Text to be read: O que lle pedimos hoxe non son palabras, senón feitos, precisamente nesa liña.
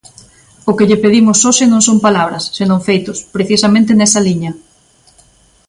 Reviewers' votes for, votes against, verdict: 2, 1, accepted